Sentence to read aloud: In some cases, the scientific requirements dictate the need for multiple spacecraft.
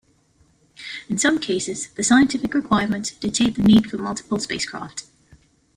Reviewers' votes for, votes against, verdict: 2, 1, accepted